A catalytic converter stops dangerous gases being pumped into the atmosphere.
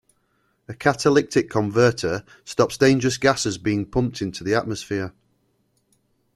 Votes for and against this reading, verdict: 2, 0, accepted